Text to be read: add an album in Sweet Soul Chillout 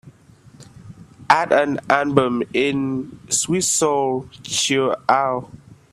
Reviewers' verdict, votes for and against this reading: accepted, 2, 1